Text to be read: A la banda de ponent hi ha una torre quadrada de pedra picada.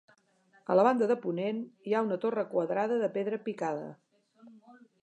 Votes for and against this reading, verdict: 2, 0, accepted